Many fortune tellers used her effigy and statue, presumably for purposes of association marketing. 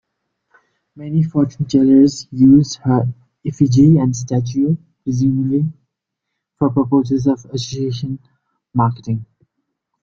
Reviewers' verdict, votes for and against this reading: accepted, 2, 0